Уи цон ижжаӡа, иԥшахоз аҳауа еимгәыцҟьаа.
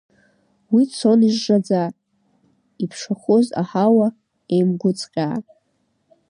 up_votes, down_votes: 2, 0